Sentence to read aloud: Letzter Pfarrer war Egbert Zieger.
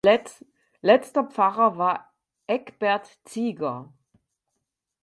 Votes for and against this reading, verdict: 0, 4, rejected